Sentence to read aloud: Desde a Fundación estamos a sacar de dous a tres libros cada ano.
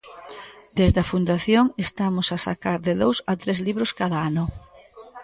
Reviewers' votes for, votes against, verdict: 2, 0, accepted